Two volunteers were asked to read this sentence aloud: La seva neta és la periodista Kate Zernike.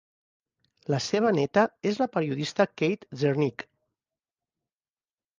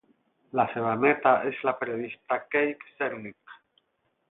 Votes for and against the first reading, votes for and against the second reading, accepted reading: 2, 0, 4, 4, first